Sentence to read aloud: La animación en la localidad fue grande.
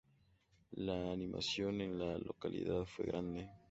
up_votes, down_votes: 2, 0